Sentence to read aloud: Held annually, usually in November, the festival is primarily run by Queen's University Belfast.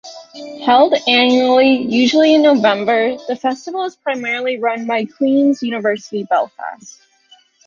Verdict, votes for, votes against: rejected, 1, 2